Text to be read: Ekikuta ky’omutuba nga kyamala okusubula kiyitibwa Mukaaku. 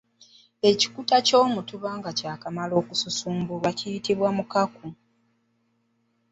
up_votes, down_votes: 2, 1